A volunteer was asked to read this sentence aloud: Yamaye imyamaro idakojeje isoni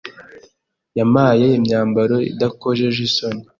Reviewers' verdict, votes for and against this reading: rejected, 1, 2